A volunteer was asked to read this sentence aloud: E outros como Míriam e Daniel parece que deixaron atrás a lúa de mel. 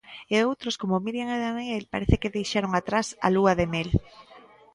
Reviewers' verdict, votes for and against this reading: accepted, 2, 0